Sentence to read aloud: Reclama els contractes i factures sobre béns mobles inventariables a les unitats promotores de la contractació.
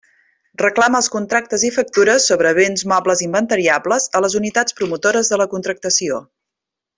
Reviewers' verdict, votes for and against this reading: accepted, 2, 0